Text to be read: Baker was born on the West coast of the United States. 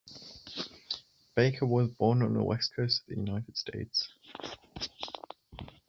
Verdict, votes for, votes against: rejected, 0, 2